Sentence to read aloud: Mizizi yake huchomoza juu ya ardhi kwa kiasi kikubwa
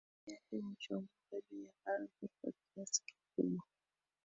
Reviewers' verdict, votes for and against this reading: rejected, 0, 2